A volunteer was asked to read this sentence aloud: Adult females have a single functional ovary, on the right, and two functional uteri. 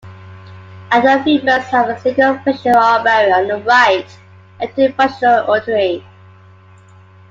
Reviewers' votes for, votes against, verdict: 1, 2, rejected